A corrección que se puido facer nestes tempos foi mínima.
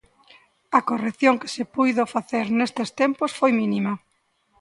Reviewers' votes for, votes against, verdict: 2, 0, accepted